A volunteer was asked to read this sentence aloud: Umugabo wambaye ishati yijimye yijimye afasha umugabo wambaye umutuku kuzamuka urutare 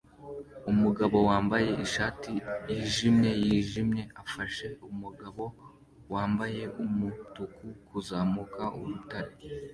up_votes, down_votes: 2, 0